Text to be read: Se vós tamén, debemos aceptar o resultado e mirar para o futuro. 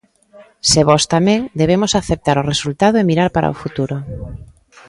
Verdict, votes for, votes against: rejected, 1, 2